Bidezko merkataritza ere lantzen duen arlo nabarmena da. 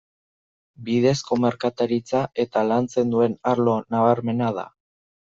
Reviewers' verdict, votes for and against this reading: rejected, 0, 2